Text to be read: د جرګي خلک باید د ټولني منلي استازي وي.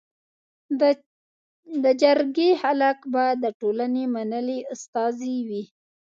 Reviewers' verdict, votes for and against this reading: rejected, 1, 2